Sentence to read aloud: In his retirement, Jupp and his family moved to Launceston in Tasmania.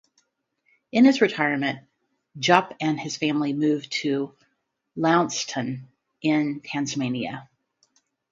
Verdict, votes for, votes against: rejected, 0, 2